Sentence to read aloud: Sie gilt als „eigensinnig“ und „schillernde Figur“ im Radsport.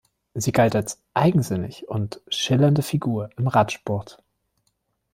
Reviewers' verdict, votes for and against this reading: rejected, 0, 2